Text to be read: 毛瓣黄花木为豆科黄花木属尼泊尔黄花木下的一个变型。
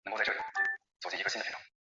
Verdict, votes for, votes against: rejected, 0, 2